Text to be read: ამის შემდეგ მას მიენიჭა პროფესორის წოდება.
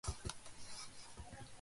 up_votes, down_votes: 0, 2